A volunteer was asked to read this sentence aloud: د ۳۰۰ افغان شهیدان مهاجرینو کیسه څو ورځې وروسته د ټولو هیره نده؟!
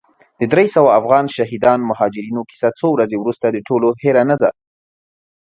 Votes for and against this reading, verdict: 0, 2, rejected